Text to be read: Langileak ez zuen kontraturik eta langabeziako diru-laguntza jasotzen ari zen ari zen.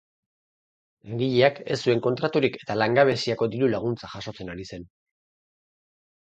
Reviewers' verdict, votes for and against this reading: rejected, 0, 4